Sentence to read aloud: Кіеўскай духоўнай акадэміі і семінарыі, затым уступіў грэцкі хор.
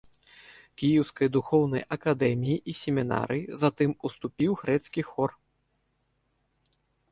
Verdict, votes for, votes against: accepted, 2, 0